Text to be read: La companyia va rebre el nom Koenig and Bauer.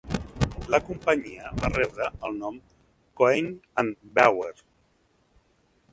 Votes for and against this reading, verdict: 2, 1, accepted